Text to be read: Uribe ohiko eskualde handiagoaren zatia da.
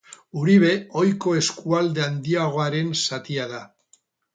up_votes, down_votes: 6, 0